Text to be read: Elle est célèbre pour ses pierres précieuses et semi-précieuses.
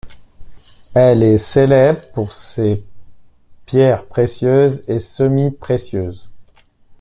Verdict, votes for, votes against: accepted, 2, 1